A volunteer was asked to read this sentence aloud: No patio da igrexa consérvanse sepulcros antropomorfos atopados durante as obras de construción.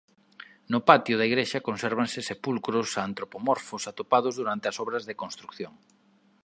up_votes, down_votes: 0, 2